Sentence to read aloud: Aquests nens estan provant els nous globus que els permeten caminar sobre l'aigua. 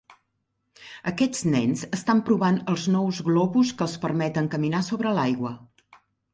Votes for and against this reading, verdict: 3, 0, accepted